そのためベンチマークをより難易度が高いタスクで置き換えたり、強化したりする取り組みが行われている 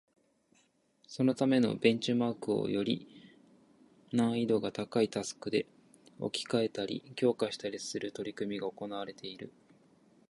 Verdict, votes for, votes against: rejected, 1, 2